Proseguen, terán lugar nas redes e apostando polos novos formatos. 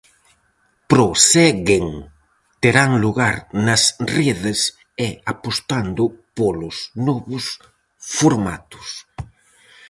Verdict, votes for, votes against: rejected, 2, 2